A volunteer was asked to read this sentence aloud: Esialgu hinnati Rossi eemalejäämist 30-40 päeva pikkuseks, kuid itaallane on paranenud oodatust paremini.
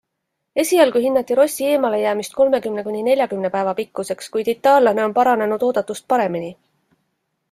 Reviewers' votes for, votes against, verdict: 0, 2, rejected